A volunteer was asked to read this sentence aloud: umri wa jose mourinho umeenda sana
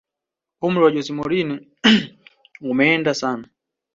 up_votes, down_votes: 2, 1